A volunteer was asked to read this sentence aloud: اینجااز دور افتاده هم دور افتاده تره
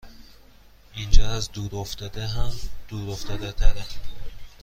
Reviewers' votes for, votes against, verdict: 2, 1, accepted